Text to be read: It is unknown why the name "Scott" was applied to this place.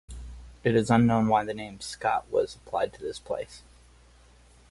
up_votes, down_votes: 4, 0